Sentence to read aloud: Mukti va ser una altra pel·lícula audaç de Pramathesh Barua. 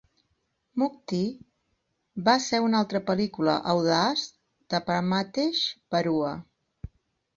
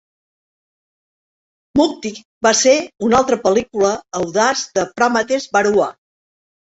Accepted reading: first